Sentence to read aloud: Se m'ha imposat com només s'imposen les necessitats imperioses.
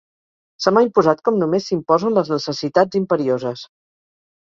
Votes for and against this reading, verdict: 4, 0, accepted